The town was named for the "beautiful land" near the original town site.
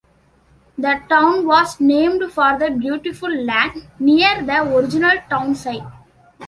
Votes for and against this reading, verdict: 2, 0, accepted